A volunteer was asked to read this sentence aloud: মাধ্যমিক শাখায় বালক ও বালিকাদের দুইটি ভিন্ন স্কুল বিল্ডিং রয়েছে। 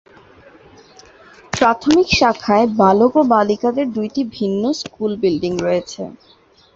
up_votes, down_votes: 2, 9